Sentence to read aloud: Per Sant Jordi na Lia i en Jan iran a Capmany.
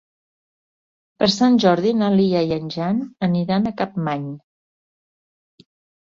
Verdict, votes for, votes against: rejected, 0, 2